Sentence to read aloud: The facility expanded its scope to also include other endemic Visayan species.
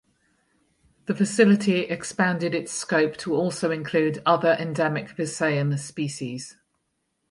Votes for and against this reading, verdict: 4, 0, accepted